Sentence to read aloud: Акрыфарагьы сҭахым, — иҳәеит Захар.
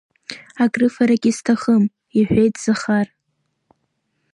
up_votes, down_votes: 0, 2